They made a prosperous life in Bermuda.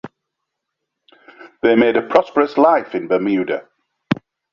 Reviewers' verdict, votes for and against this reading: accepted, 2, 0